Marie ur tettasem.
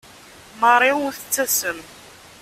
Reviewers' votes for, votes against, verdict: 2, 0, accepted